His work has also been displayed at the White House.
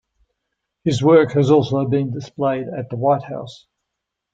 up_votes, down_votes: 2, 0